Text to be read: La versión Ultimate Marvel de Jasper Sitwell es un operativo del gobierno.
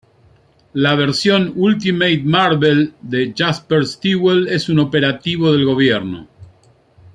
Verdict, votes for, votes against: rejected, 1, 2